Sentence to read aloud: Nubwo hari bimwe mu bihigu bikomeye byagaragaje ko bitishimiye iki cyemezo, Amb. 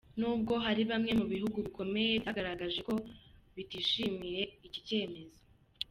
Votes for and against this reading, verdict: 0, 3, rejected